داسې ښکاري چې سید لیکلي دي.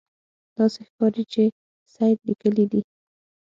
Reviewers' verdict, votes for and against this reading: accepted, 9, 0